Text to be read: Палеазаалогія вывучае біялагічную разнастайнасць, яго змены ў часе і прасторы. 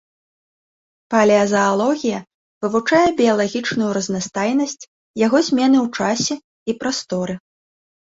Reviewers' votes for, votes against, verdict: 2, 0, accepted